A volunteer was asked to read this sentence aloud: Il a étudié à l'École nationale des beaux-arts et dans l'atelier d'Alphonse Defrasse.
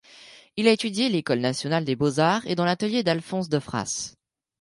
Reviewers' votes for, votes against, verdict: 2, 0, accepted